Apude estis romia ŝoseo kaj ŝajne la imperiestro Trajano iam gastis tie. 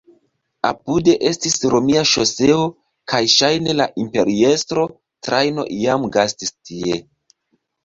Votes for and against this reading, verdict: 2, 0, accepted